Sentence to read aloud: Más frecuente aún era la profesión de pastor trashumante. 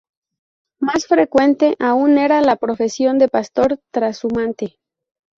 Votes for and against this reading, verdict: 0, 2, rejected